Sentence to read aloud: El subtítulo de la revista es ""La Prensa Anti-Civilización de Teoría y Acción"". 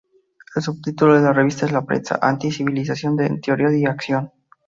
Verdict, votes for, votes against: rejected, 0, 2